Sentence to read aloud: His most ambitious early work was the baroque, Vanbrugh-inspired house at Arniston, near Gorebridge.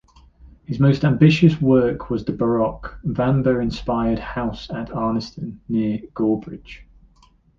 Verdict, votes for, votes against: rejected, 1, 2